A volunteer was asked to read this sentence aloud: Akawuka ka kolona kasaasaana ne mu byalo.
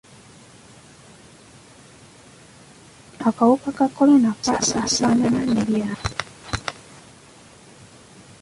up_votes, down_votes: 0, 2